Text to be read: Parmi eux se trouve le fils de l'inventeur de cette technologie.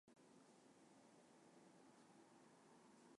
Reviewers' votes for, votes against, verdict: 0, 2, rejected